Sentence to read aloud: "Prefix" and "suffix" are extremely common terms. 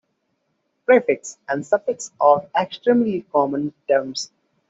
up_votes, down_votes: 0, 2